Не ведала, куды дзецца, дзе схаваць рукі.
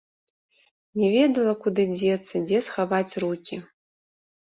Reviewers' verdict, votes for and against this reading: accepted, 3, 0